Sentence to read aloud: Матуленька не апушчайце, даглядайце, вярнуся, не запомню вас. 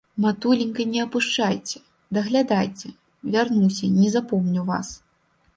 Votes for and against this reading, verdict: 2, 0, accepted